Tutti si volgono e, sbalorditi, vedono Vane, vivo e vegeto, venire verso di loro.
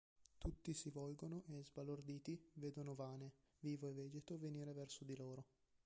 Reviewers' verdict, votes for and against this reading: rejected, 0, 2